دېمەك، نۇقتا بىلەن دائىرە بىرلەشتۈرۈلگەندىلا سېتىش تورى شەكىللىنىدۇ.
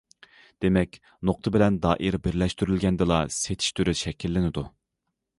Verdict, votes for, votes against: rejected, 0, 2